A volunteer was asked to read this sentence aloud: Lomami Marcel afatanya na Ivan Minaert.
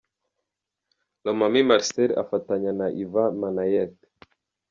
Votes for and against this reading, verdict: 0, 2, rejected